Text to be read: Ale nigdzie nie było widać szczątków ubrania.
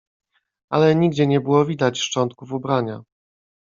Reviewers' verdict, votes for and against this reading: rejected, 1, 2